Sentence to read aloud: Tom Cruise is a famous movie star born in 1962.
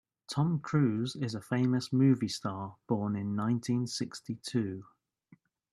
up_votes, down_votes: 0, 2